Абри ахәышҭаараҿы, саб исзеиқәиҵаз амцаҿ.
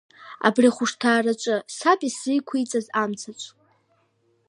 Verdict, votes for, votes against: accepted, 2, 0